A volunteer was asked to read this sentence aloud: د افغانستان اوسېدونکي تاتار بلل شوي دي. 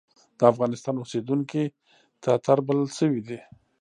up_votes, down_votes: 0, 2